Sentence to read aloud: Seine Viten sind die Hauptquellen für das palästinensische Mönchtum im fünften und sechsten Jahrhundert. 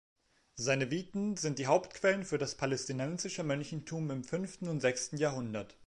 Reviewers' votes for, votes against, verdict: 1, 2, rejected